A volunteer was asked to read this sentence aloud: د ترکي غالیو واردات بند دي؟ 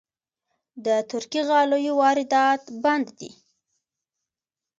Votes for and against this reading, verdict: 2, 0, accepted